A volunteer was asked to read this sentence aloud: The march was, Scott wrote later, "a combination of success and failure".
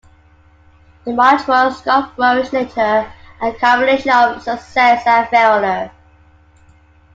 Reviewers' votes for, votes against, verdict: 2, 1, accepted